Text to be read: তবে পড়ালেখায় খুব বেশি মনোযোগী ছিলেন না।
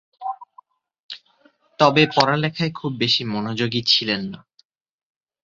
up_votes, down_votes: 4, 0